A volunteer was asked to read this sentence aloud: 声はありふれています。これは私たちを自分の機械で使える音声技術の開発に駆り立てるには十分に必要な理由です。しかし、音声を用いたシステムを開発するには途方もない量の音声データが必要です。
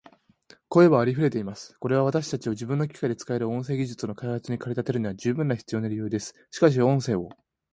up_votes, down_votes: 0, 2